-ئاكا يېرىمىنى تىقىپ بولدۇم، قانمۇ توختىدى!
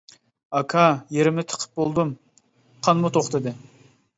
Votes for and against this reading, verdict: 1, 2, rejected